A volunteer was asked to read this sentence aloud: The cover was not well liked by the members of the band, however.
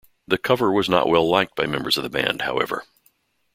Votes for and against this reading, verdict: 1, 2, rejected